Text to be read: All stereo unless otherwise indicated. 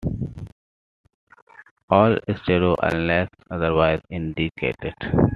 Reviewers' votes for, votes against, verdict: 2, 0, accepted